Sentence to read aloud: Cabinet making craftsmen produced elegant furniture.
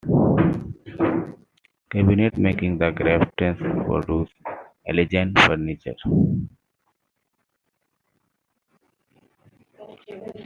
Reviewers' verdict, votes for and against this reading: rejected, 1, 2